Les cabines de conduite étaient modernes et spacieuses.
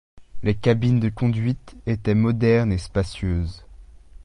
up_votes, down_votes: 2, 0